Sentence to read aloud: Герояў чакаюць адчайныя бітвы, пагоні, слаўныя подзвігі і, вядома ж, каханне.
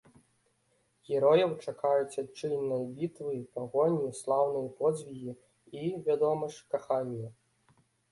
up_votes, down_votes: 0, 2